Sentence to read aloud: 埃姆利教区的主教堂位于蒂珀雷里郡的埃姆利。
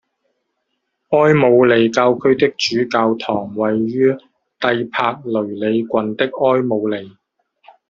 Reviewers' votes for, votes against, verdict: 0, 2, rejected